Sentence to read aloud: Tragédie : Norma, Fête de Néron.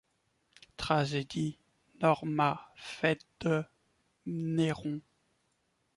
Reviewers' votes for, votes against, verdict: 1, 2, rejected